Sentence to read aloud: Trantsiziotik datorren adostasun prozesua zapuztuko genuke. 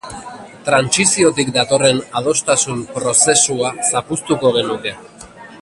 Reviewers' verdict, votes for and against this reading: accepted, 2, 1